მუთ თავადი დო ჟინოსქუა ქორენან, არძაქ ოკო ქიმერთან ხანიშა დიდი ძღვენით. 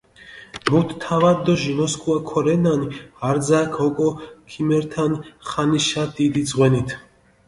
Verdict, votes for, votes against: accepted, 2, 1